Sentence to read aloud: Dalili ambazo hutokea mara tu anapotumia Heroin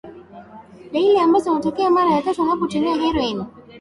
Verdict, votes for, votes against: rejected, 0, 2